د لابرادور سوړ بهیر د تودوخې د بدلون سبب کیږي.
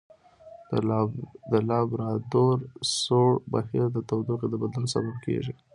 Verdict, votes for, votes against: accepted, 2, 0